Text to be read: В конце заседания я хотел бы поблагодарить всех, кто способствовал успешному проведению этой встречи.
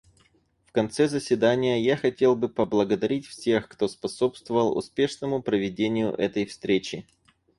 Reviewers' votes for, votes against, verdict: 4, 0, accepted